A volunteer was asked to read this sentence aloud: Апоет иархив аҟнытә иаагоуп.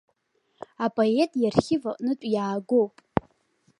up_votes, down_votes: 2, 0